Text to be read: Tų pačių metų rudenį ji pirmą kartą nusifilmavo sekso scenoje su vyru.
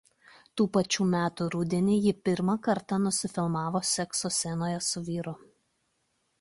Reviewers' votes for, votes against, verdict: 2, 0, accepted